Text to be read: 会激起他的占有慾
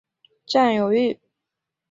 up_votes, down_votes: 1, 2